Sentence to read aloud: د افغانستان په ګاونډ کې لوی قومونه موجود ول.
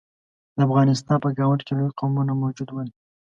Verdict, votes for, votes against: accepted, 2, 0